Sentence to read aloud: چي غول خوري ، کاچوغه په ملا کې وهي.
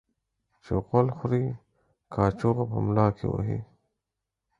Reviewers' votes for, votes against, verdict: 4, 0, accepted